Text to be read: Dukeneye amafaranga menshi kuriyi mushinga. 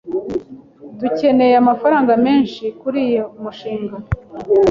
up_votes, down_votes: 1, 2